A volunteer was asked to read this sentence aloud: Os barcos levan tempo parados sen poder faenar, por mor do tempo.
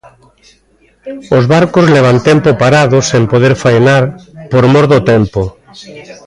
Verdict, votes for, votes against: rejected, 0, 2